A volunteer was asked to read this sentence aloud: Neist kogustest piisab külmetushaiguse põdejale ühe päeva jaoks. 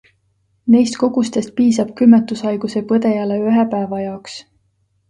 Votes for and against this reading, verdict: 2, 0, accepted